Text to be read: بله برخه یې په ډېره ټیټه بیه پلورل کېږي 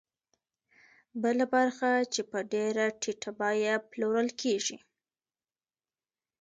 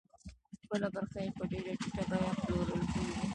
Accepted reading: first